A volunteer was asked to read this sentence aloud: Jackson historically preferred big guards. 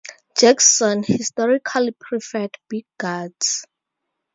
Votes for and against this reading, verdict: 2, 0, accepted